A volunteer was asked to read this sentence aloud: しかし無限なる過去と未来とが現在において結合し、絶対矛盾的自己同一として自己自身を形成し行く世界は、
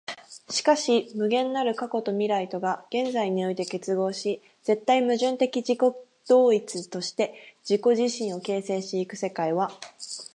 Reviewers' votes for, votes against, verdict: 0, 4, rejected